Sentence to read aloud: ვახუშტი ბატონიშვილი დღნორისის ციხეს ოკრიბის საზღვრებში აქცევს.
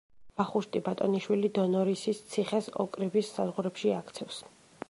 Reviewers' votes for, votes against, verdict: 1, 2, rejected